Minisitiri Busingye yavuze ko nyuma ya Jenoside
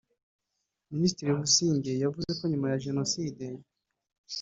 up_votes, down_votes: 0, 2